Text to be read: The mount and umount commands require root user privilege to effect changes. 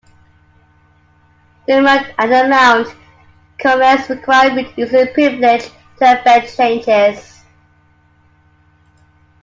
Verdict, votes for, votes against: rejected, 1, 2